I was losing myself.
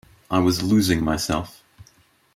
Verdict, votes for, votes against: accepted, 2, 0